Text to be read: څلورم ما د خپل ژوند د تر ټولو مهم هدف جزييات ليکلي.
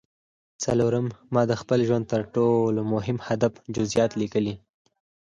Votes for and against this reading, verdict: 4, 2, accepted